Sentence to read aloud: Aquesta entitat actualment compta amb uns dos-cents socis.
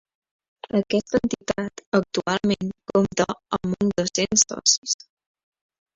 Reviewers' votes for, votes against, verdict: 0, 2, rejected